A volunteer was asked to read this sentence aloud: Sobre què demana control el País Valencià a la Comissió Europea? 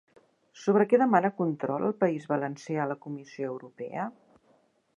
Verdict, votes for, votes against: accepted, 2, 0